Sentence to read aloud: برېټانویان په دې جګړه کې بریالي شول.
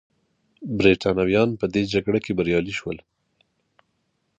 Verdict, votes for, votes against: accepted, 2, 0